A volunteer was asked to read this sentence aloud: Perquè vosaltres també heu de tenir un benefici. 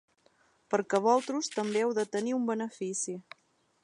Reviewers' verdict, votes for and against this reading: rejected, 0, 2